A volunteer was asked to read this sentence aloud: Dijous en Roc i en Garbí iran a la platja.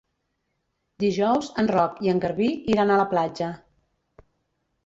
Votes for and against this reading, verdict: 3, 0, accepted